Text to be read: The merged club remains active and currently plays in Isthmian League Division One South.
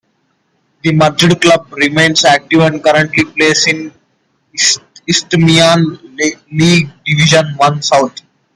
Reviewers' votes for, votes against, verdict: 1, 2, rejected